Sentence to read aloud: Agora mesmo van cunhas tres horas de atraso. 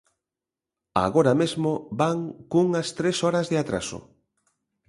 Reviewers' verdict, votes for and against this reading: accepted, 2, 0